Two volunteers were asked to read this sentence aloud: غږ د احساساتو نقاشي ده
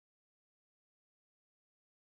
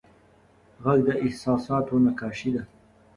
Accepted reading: second